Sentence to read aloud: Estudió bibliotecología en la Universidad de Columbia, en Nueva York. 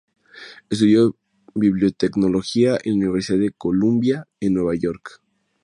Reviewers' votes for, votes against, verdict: 2, 0, accepted